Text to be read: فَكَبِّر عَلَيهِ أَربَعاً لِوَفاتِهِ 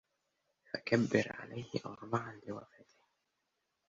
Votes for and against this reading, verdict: 1, 2, rejected